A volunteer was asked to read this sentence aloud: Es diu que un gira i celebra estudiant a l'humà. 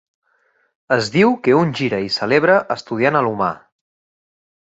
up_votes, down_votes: 2, 0